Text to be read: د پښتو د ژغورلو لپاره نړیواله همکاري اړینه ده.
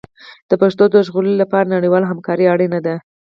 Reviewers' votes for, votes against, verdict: 2, 4, rejected